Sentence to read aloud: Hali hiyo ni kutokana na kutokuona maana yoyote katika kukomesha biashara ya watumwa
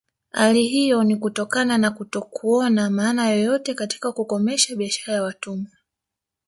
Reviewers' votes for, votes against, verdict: 2, 0, accepted